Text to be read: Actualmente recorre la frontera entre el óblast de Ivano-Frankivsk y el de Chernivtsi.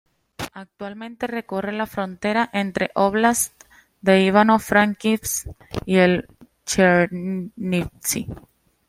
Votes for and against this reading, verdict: 2, 0, accepted